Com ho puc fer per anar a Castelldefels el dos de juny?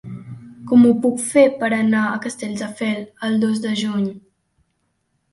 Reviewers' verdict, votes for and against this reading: rejected, 0, 2